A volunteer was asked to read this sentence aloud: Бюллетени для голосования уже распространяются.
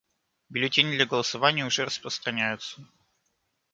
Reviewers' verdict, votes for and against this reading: accepted, 2, 0